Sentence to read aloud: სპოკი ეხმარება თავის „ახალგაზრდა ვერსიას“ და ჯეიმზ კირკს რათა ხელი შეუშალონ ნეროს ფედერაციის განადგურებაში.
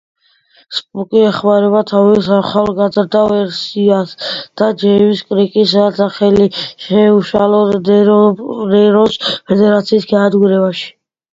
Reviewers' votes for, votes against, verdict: 1, 2, rejected